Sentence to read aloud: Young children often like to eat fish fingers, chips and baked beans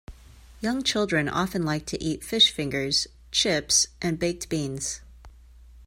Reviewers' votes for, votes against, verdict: 2, 0, accepted